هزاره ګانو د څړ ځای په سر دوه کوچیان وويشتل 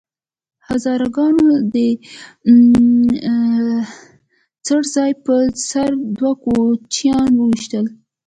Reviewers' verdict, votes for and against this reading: accepted, 2, 0